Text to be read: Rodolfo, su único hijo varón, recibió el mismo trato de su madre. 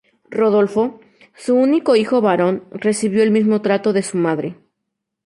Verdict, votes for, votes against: accepted, 2, 0